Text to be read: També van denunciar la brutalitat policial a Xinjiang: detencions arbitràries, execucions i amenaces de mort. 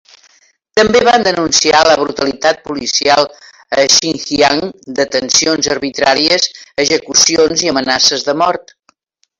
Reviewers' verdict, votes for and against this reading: accepted, 2, 1